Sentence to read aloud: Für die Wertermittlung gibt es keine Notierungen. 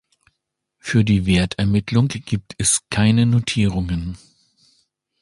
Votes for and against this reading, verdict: 2, 0, accepted